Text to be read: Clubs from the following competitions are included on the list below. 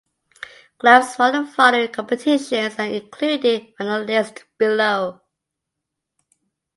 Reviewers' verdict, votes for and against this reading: rejected, 1, 2